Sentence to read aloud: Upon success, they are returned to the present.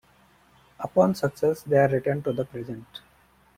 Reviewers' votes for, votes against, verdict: 2, 0, accepted